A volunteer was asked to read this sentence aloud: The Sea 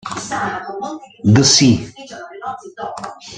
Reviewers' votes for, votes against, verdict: 1, 2, rejected